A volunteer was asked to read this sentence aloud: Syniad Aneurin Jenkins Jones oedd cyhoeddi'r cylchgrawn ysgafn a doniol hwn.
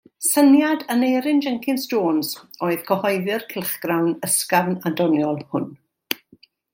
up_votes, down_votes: 2, 0